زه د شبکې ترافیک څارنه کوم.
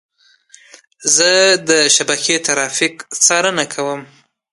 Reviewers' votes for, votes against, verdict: 2, 0, accepted